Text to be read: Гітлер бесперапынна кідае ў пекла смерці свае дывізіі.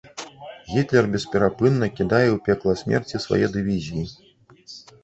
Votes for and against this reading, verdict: 0, 2, rejected